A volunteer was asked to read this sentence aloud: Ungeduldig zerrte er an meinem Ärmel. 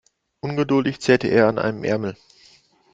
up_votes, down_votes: 0, 2